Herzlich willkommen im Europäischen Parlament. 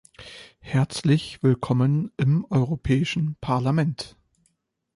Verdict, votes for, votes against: accepted, 2, 0